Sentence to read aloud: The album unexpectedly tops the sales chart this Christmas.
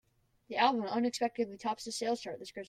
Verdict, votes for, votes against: rejected, 0, 2